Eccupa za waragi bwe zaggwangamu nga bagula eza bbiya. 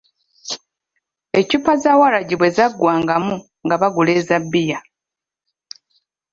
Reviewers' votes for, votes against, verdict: 2, 0, accepted